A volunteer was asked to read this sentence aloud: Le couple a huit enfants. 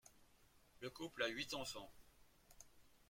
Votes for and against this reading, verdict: 2, 1, accepted